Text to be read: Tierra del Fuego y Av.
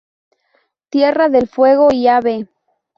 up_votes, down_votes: 2, 0